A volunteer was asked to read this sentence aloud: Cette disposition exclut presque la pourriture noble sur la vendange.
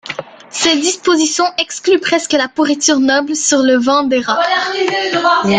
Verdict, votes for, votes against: rejected, 0, 2